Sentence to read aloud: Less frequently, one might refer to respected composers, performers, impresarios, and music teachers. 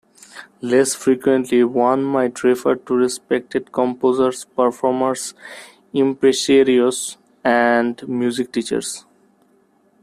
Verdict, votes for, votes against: accepted, 2, 1